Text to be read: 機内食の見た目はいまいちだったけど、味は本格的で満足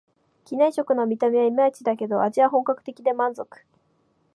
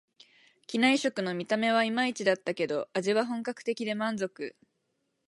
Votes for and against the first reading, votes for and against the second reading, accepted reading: 0, 2, 4, 0, second